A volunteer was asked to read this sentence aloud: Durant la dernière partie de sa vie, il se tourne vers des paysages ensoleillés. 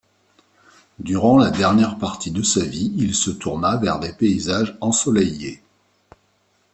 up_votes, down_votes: 1, 2